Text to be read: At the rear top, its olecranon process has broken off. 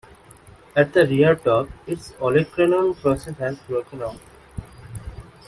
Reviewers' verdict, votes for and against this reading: rejected, 1, 2